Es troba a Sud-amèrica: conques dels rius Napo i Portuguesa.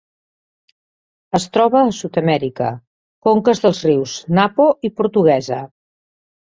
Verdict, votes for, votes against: accepted, 4, 0